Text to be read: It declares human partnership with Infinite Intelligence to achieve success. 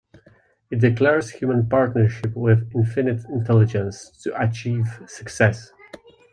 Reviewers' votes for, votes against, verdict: 1, 2, rejected